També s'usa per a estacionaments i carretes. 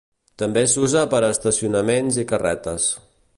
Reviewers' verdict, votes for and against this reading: accepted, 2, 0